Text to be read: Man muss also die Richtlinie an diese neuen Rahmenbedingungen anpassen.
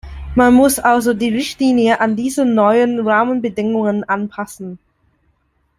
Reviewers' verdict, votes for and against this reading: accepted, 2, 0